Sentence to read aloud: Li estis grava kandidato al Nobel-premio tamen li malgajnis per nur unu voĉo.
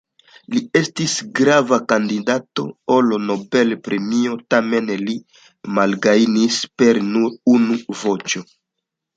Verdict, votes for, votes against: accepted, 2, 0